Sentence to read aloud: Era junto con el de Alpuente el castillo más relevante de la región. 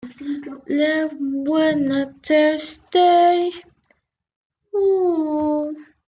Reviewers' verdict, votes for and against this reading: rejected, 0, 2